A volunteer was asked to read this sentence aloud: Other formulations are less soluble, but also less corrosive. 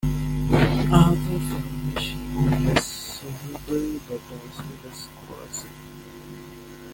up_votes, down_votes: 0, 2